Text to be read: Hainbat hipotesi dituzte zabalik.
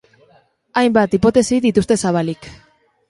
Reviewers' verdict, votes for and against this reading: accepted, 3, 0